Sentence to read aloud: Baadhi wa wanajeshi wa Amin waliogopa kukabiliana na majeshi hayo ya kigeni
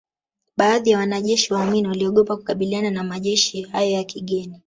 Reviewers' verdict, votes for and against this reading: rejected, 0, 2